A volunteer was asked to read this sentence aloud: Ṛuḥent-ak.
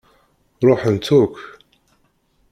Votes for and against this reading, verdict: 2, 1, accepted